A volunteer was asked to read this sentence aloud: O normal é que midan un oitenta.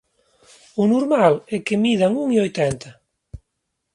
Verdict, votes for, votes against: rejected, 0, 2